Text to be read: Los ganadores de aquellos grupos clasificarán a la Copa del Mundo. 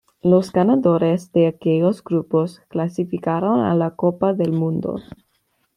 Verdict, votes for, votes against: rejected, 1, 2